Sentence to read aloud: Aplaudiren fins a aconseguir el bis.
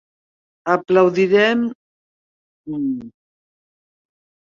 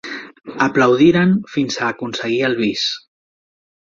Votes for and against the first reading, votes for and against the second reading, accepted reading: 0, 2, 3, 0, second